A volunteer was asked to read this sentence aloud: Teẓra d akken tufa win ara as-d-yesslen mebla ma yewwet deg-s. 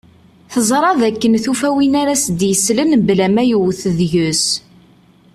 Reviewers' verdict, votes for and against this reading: accepted, 2, 0